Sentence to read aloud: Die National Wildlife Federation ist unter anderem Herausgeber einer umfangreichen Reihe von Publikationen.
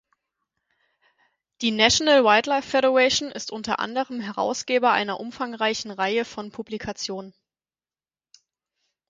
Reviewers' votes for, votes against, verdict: 4, 0, accepted